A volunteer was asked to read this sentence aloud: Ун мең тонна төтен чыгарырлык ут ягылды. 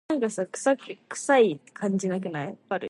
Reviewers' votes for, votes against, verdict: 0, 2, rejected